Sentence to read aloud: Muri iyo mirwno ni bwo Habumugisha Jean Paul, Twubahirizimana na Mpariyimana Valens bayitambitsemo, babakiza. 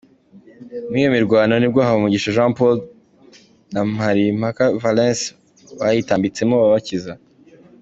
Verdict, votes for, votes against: rejected, 0, 2